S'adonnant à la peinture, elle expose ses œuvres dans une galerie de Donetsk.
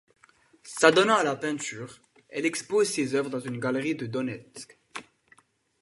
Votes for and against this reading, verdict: 2, 0, accepted